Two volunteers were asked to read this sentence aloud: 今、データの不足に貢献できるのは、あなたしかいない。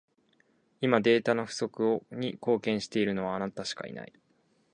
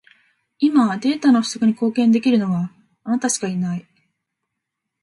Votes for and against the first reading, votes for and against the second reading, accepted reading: 2, 2, 2, 0, second